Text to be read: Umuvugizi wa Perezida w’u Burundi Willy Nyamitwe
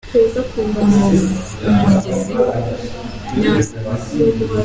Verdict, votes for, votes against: rejected, 0, 3